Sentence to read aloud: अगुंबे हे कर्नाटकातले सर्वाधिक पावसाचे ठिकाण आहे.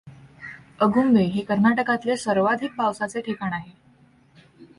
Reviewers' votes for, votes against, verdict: 2, 0, accepted